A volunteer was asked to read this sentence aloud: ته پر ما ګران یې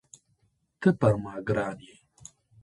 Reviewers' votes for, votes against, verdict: 0, 2, rejected